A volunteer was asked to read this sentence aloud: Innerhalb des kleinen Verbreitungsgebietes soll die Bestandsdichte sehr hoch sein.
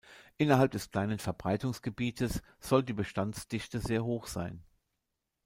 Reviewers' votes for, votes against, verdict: 2, 0, accepted